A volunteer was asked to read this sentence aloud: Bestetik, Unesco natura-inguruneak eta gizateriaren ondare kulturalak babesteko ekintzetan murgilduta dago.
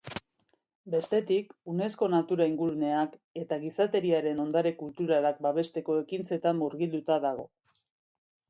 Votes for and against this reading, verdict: 2, 0, accepted